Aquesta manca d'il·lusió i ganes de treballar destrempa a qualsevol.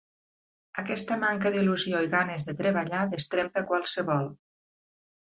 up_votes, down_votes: 2, 0